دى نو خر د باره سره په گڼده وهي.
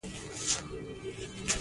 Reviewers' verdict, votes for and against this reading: rejected, 0, 2